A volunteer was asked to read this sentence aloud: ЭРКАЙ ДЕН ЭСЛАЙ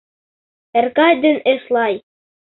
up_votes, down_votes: 2, 0